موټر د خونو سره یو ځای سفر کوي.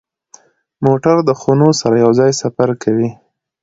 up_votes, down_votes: 2, 0